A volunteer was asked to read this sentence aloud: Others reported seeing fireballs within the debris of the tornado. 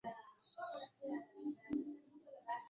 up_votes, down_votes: 0, 2